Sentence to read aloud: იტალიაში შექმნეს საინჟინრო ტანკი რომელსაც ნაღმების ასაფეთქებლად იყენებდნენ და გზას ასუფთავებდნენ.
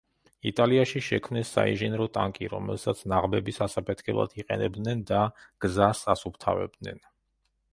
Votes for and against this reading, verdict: 2, 0, accepted